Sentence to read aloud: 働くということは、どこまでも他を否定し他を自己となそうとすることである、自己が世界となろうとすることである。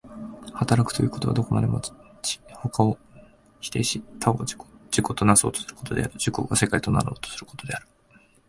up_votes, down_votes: 1, 2